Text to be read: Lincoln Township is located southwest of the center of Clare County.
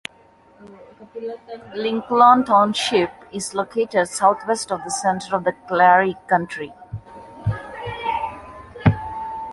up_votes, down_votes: 0, 2